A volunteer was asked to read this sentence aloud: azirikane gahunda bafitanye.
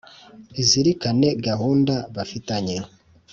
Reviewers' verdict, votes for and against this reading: rejected, 1, 2